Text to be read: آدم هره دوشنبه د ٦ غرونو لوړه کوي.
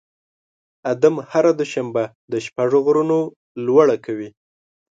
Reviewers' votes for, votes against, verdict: 0, 2, rejected